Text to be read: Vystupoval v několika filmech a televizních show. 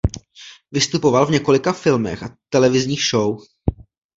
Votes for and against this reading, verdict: 2, 0, accepted